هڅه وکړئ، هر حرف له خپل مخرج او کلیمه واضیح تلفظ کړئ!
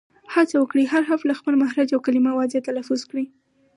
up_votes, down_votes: 2, 2